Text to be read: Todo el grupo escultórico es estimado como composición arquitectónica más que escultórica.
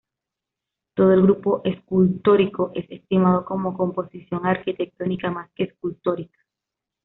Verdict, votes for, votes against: accepted, 2, 0